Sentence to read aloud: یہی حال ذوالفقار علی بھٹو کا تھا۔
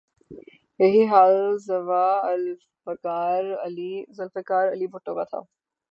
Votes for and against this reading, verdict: 0, 3, rejected